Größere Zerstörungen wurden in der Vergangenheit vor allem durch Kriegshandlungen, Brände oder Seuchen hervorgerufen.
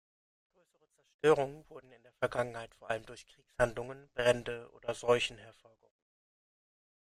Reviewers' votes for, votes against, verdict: 0, 2, rejected